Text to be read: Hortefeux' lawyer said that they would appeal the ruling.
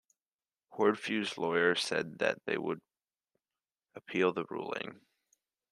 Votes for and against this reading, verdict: 2, 0, accepted